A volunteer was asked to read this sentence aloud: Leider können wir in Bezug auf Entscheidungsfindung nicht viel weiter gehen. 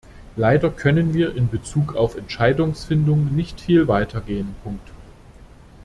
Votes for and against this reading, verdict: 0, 2, rejected